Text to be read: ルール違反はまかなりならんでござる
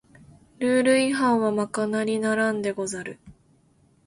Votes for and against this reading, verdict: 2, 0, accepted